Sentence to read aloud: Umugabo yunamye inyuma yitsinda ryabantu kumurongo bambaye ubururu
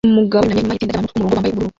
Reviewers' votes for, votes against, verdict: 0, 2, rejected